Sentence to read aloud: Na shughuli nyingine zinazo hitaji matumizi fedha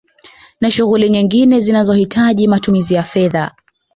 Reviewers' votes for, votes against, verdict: 2, 1, accepted